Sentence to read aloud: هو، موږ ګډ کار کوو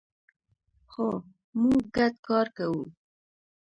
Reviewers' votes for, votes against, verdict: 0, 2, rejected